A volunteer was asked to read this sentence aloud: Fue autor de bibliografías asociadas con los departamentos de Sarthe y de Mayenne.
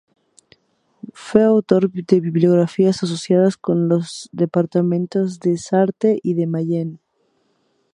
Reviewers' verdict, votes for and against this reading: accepted, 2, 0